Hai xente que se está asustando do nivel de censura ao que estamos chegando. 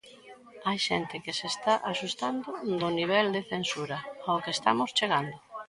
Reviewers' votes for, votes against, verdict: 2, 0, accepted